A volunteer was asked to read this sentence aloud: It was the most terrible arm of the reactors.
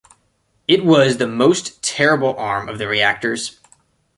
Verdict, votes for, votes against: accepted, 2, 0